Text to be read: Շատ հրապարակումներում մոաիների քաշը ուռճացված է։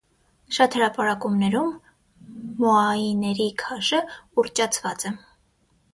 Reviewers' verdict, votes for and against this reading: accepted, 6, 0